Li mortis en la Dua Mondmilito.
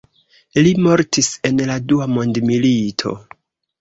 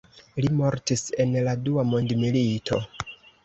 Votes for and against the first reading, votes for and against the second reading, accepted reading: 0, 2, 2, 0, second